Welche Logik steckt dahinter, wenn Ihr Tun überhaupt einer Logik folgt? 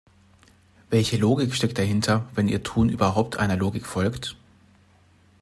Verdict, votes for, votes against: accepted, 2, 0